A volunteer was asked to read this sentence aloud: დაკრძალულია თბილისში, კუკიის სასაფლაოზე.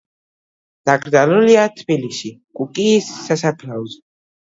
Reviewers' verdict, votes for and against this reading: accepted, 2, 1